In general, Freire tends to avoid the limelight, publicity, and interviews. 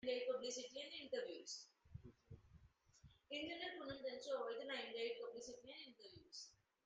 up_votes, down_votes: 0, 2